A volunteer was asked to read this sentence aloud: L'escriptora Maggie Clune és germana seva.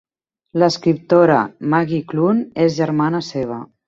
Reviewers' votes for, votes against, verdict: 0, 2, rejected